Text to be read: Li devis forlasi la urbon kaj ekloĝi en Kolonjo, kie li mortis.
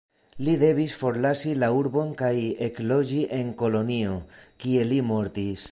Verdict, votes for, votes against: rejected, 0, 2